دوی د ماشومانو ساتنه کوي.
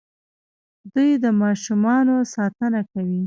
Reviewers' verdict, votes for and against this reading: rejected, 1, 2